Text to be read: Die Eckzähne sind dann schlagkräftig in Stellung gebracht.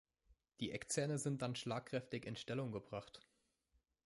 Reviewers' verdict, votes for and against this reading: accepted, 2, 0